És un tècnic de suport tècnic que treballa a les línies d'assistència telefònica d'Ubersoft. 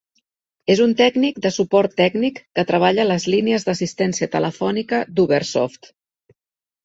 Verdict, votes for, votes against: accepted, 5, 0